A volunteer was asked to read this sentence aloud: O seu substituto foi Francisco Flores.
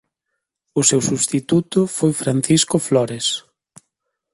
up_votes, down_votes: 2, 0